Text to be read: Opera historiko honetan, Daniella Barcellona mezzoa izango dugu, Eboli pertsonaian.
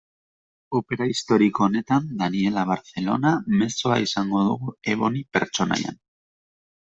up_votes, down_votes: 1, 2